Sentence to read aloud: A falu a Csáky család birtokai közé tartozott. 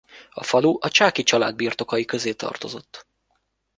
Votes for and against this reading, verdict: 2, 1, accepted